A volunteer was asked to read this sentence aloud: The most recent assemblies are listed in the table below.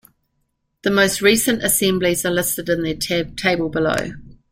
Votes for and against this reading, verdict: 1, 2, rejected